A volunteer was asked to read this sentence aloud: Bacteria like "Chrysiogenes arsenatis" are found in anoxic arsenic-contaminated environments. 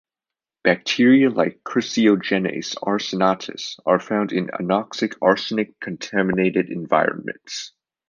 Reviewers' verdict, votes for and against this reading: accepted, 2, 0